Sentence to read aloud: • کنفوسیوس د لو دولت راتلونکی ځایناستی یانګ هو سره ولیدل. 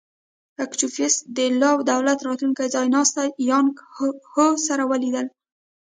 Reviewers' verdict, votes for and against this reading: rejected, 1, 2